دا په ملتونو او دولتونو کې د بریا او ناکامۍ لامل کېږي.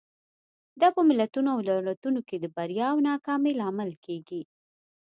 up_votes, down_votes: 2, 0